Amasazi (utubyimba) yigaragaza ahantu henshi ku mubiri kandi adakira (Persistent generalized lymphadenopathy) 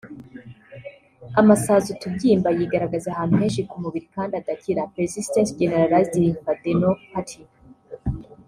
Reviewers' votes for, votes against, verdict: 0, 2, rejected